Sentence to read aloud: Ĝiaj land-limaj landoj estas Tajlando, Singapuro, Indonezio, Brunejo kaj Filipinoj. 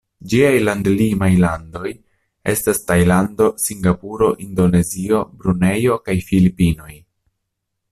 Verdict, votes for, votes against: accepted, 2, 0